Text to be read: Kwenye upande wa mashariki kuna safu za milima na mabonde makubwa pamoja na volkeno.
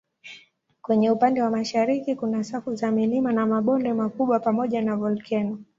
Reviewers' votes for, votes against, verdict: 10, 1, accepted